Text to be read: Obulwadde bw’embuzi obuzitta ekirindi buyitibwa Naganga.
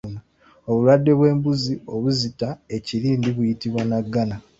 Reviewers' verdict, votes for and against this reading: rejected, 0, 2